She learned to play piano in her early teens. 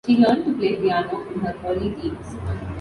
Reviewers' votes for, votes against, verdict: 0, 2, rejected